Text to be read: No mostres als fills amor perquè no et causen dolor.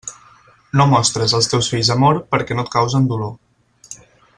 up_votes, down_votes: 2, 4